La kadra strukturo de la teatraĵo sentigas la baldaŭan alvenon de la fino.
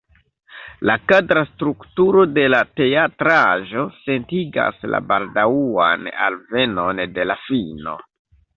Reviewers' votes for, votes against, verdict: 2, 0, accepted